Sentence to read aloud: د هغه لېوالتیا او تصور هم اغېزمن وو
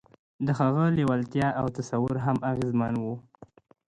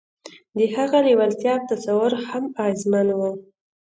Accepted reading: second